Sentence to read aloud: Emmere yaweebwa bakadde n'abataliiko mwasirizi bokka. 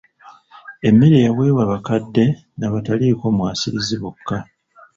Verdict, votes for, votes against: accepted, 2, 1